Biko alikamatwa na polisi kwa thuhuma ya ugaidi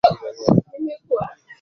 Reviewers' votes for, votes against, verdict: 0, 2, rejected